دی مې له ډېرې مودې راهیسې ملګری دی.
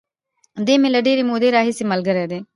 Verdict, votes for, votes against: accepted, 2, 0